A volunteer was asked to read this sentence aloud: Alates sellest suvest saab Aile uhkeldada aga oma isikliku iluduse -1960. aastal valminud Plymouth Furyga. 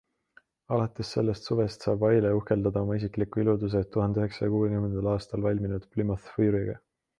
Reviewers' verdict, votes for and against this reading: rejected, 0, 2